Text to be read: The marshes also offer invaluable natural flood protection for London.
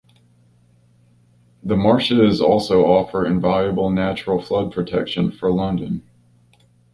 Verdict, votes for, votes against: accepted, 3, 2